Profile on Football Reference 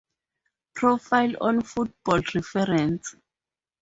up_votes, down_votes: 0, 2